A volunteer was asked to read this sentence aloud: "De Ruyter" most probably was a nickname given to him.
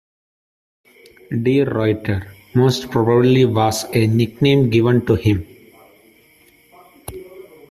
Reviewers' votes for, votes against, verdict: 2, 0, accepted